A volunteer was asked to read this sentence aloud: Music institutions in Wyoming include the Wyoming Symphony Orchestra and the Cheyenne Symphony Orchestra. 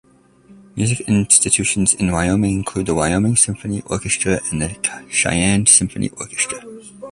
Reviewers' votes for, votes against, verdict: 2, 1, accepted